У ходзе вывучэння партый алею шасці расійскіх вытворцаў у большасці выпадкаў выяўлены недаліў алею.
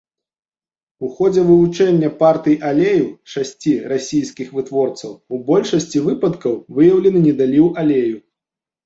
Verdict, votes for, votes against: accepted, 2, 0